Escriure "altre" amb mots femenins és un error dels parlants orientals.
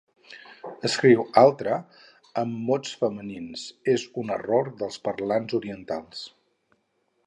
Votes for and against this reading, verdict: 0, 4, rejected